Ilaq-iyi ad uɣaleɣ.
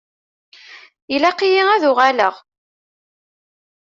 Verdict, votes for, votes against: accepted, 2, 0